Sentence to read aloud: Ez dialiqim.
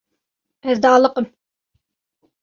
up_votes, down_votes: 2, 0